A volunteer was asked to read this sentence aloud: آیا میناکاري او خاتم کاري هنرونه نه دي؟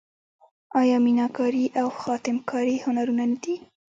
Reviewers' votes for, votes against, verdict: 0, 2, rejected